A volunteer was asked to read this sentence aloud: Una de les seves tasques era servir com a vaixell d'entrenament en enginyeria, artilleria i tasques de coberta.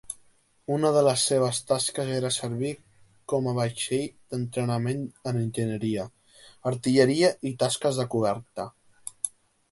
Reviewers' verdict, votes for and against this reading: accepted, 2, 0